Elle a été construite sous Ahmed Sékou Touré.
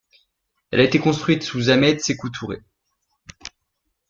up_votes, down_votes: 2, 0